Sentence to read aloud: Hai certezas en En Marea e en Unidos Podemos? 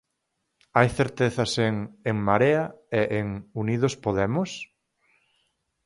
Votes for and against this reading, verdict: 4, 0, accepted